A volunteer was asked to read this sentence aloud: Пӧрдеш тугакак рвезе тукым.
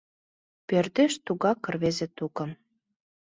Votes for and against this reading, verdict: 1, 2, rejected